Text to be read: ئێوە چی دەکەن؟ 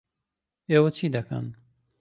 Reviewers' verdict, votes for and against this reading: accepted, 2, 0